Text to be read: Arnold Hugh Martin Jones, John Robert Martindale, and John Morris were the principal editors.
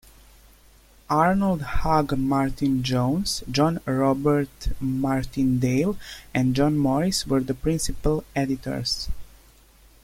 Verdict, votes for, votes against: rejected, 0, 2